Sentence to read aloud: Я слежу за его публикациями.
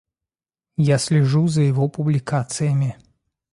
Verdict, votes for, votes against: accepted, 2, 0